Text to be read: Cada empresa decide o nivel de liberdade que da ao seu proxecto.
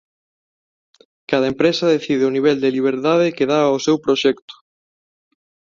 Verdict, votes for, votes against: accepted, 2, 1